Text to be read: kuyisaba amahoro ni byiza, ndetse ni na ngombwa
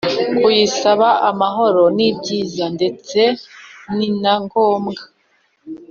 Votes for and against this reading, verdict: 2, 0, accepted